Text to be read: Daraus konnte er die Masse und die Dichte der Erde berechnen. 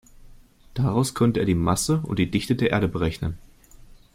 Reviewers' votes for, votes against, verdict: 2, 0, accepted